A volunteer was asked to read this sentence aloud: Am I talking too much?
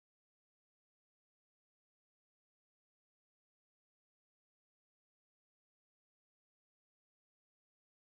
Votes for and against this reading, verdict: 0, 2, rejected